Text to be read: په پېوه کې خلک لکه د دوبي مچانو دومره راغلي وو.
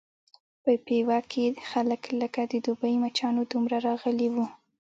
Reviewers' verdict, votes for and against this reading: accepted, 2, 0